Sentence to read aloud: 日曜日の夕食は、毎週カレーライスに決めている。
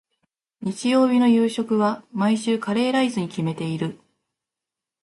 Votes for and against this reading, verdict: 0, 2, rejected